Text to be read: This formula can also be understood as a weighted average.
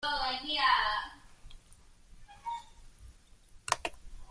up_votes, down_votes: 0, 2